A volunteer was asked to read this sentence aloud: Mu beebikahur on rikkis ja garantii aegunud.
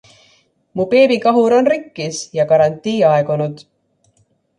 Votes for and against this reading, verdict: 2, 0, accepted